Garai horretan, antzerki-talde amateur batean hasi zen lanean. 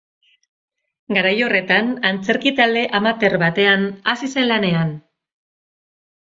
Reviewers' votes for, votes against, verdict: 2, 2, rejected